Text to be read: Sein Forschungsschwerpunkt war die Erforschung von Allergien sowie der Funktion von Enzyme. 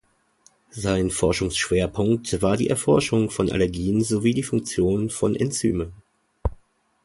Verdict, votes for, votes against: rejected, 1, 2